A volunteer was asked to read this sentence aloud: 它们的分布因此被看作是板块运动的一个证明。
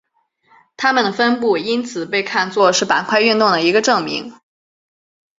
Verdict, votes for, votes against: accepted, 6, 0